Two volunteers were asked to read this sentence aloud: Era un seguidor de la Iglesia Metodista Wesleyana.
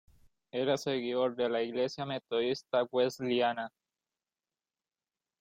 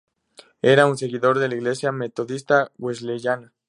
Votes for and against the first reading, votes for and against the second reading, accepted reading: 0, 2, 2, 0, second